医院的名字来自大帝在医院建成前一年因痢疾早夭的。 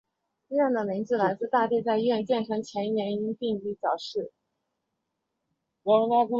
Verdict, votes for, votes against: rejected, 1, 3